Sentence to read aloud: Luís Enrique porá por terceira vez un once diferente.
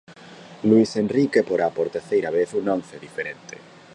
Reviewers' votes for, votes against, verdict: 1, 2, rejected